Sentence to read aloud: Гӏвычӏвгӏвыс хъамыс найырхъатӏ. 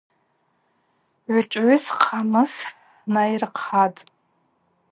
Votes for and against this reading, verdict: 2, 0, accepted